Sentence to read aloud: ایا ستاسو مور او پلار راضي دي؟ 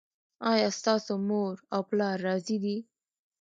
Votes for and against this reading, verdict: 1, 2, rejected